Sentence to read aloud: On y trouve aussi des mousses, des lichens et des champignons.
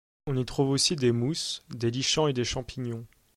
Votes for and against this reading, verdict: 2, 3, rejected